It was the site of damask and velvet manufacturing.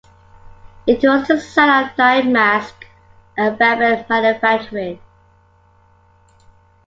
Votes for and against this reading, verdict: 0, 3, rejected